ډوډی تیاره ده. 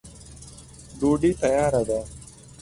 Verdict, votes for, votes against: rejected, 0, 2